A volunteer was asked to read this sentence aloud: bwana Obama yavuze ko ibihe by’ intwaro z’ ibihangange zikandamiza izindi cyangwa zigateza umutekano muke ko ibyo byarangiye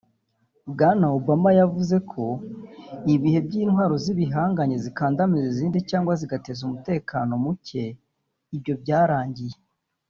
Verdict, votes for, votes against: rejected, 1, 2